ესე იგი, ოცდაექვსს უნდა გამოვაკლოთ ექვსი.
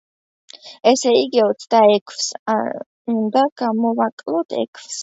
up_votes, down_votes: 2, 0